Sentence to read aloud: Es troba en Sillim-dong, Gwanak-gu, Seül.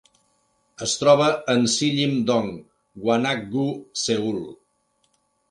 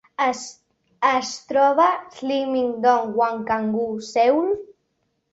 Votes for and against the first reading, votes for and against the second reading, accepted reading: 2, 0, 0, 2, first